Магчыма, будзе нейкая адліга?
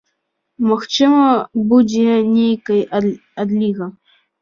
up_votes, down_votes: 0, 2